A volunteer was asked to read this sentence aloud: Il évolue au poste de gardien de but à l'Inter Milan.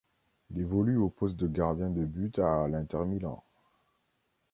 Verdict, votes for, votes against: rejected, 0, 2